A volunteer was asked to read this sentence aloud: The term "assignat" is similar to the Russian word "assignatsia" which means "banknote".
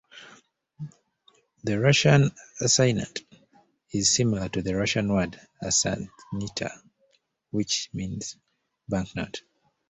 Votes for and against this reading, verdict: 0, 2, rejected